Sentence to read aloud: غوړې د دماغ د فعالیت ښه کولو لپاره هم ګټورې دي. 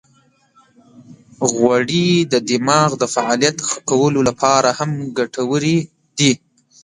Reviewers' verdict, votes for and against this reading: rejected, 1, 2